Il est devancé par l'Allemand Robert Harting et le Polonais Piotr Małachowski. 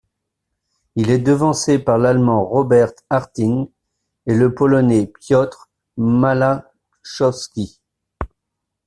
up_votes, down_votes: 1, 2